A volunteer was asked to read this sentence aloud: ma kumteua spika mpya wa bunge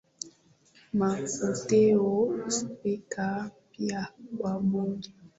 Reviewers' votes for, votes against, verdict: 6, 5, accepted